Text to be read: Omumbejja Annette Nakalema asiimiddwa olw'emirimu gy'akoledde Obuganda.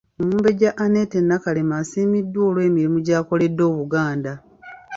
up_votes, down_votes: 2, 0